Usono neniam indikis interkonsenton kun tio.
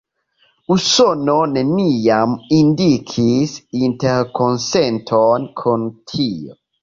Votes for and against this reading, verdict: 0, 2, rejected